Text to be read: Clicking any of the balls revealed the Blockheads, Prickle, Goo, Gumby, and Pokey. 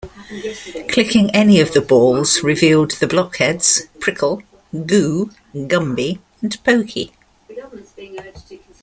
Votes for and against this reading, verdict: 1, 2, rejected